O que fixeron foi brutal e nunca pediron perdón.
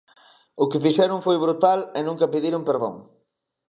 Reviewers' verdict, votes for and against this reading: accepted, 2, 0